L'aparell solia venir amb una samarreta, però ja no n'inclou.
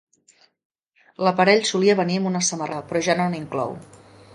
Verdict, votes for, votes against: rejected, 0, 3